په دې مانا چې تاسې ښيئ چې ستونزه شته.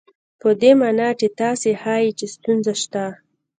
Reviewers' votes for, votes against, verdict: 2, 1, accepted